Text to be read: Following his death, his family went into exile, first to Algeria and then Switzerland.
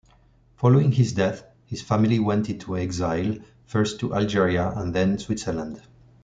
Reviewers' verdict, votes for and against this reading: accepted, 2, 0